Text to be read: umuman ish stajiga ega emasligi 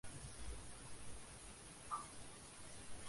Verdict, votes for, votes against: rejected, 0, 2